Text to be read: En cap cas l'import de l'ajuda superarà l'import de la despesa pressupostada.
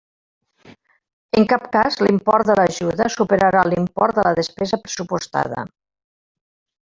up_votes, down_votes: 2, 3